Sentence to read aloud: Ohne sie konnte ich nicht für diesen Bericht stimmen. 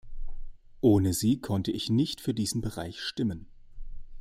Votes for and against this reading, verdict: 1, 2, rejected